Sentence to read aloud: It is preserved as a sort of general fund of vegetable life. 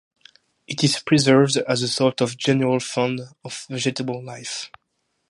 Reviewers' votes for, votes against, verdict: 4, 0, accepted